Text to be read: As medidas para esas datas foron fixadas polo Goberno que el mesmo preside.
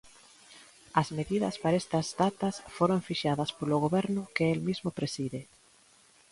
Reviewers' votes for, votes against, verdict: 1, 2, rejected